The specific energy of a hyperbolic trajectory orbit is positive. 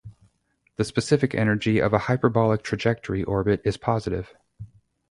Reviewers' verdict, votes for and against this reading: accepted, 2, 0